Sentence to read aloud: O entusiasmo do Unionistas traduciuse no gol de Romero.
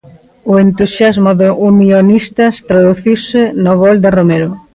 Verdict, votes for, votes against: accepted, 2, 0